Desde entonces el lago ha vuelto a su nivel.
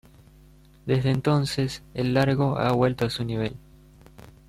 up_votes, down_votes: 0, 2